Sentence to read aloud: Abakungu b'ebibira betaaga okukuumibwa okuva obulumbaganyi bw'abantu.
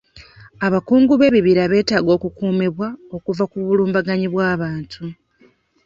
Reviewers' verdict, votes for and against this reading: rejected, 1, 2